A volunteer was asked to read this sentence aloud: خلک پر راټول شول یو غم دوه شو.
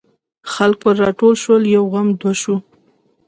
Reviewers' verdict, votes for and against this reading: accepted, 2, 0